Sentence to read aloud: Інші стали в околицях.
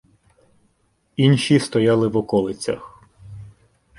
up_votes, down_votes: 0, 2